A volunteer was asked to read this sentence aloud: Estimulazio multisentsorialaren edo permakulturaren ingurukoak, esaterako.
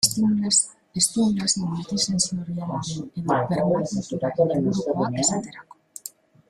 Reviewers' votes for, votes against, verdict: 0, 2, rejected